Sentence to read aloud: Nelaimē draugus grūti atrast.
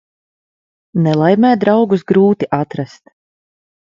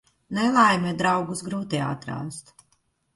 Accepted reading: first